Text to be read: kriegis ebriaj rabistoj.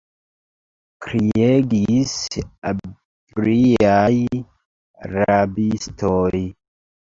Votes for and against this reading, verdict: 0, 2, rejected